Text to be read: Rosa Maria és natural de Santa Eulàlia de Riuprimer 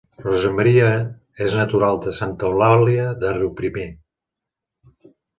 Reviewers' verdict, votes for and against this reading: accepted, 2, 0